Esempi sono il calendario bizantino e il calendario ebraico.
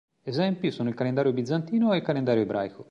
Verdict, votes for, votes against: accepted, 2, 0